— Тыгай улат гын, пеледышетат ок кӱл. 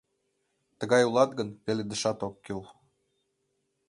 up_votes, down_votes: 1, 2